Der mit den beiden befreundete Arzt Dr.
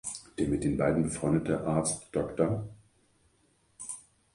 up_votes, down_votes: 2, 0